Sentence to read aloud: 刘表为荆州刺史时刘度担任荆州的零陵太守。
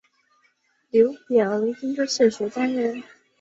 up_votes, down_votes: 0, 2